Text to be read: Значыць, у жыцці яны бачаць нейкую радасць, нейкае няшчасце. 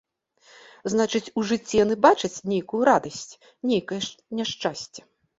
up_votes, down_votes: 1, 2